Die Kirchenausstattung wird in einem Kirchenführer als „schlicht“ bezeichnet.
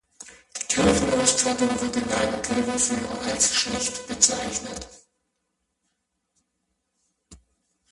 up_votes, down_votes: 0, 2